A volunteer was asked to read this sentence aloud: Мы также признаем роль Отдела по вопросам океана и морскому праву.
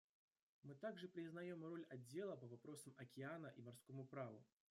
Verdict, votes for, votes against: rejected, 1, 2